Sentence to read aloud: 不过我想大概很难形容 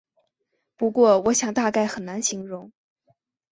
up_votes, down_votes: 6, 0